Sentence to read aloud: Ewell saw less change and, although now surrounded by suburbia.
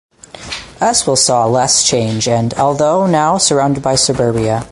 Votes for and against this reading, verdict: 0, 4, rejected